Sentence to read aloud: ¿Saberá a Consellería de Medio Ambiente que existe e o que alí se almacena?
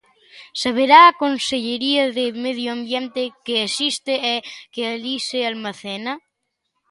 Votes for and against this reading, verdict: 1, 2, rejected